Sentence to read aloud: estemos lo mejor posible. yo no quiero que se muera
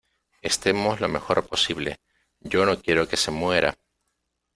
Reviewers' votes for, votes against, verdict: 2, 0, accepted